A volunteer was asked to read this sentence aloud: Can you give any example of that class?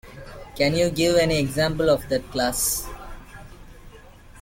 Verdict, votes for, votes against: accepted, 2, 1